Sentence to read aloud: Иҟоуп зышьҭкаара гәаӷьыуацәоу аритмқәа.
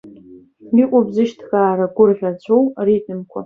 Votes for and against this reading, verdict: 2, 1, accepted